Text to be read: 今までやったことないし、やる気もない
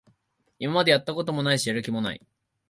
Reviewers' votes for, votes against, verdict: 0, 2, rejected